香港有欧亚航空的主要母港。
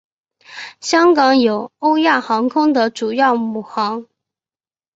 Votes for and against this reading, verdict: 2, 2, rejected